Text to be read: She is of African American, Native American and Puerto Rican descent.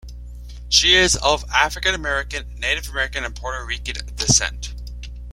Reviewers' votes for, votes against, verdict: 2, 0, accepted